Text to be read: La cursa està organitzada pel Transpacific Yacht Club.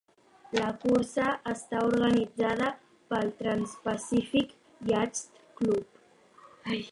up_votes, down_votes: 0, 2